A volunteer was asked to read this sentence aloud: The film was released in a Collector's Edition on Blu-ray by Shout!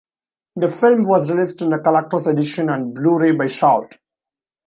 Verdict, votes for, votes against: accepted, 2, 0